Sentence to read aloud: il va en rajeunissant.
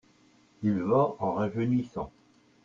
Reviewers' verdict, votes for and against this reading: accepted, 2, 0